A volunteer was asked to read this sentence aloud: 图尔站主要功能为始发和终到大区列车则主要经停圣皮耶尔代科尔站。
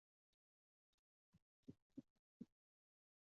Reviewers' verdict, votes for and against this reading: rejected, 2, 5